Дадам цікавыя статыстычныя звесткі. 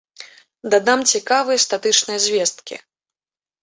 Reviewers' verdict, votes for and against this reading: rejected, 1, 2